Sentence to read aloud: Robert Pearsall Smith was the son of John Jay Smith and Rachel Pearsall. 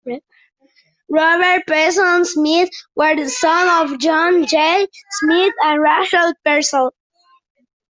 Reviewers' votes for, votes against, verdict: 1, 2, rejected